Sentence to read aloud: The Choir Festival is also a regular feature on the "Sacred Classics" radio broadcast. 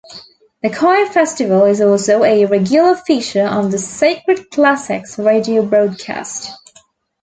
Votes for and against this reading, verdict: 2, 0, accepted